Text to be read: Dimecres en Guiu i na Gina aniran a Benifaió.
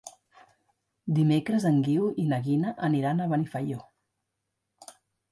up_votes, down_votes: 1, 2